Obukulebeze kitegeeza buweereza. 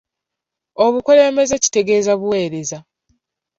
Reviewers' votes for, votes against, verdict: 0, 2, rejected